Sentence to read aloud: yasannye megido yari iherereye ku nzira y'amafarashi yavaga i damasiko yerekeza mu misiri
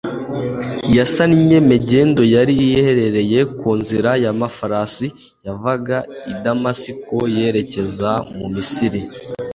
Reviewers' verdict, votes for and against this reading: rejected, 1, 2